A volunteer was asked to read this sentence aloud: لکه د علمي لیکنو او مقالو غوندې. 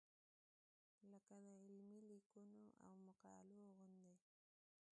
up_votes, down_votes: 0, 2